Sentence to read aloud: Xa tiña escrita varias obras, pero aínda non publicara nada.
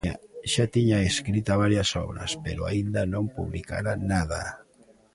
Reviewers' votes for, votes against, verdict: 1, 2, rejected